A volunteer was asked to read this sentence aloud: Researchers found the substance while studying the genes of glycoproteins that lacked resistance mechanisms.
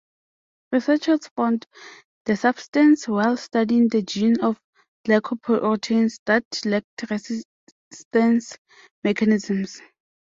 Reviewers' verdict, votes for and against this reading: rejected, 0, 2